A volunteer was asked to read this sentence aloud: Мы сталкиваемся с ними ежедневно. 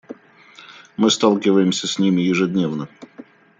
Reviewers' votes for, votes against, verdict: 2, 0, accepted